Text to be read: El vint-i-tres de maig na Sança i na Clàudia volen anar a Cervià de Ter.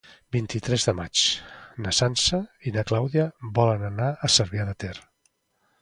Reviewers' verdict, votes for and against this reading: rejected, 1, 2